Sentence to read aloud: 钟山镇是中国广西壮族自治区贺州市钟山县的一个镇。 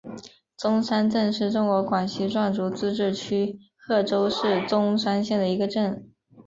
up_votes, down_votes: 4, 0